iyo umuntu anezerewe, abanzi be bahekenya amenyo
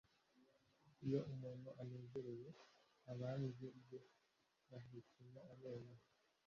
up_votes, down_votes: 2, 0